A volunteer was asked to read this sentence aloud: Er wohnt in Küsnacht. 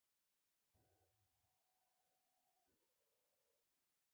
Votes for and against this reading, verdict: 0, 2, rejected